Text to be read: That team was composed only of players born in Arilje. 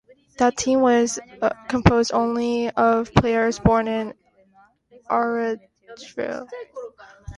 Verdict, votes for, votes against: rejected, 0, 2